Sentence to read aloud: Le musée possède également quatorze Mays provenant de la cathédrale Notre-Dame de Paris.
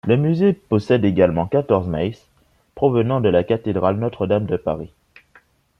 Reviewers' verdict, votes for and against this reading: accepted, 2, 0